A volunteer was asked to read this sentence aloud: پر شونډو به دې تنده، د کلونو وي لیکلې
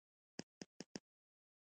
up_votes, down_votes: 0, 2